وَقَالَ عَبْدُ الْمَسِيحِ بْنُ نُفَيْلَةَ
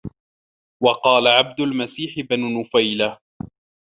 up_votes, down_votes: 2, 0